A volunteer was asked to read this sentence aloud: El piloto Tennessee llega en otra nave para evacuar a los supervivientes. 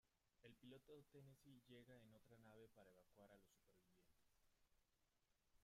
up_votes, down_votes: 0, 2